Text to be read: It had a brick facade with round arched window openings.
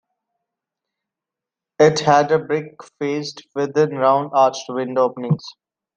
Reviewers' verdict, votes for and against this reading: rejected, 1, 2